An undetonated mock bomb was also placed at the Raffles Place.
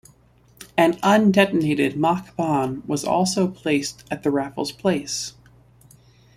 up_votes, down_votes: 2, 0